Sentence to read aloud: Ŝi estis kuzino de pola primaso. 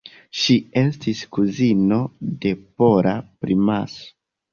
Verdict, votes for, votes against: accepted, 2, 1